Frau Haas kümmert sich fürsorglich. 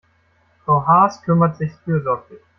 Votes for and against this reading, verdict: 2, 1, accepted